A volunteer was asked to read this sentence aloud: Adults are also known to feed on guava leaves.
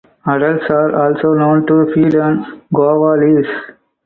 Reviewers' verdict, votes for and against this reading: accepted, 4, 0